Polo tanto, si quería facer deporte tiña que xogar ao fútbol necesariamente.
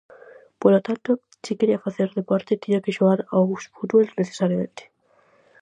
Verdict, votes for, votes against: accepted, 4, 0